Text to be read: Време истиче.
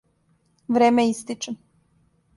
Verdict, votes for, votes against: accepted, 2, 0